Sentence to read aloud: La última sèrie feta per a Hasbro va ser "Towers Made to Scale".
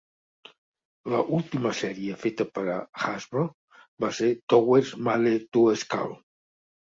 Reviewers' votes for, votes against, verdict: 3, 0, accepted